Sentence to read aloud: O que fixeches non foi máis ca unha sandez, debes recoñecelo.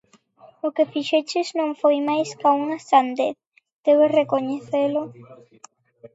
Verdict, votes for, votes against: rejected, 0, 2